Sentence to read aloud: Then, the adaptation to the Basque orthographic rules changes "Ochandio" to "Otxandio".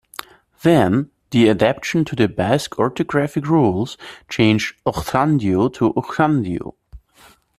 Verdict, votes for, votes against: rejected, 1, 2